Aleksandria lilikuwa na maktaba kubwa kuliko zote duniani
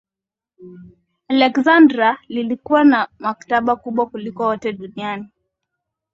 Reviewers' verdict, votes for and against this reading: rejected, 0, 2